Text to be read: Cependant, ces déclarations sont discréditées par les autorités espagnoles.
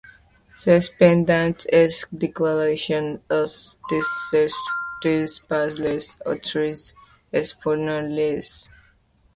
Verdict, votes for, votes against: accepted, 2, 0